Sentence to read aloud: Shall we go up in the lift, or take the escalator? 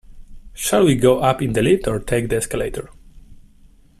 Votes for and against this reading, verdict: 1, 2, rejected